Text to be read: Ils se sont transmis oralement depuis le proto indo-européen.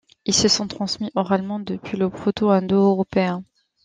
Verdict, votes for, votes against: accepted, 2, 1